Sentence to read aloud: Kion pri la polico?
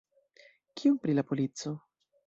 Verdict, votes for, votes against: rejected, 1, 2